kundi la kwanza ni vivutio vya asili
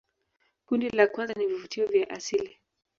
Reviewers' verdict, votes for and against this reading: accepted, 2, 1